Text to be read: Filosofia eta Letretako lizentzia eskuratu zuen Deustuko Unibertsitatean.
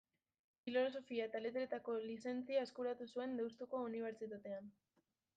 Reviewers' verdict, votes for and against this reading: rejected, 1, 2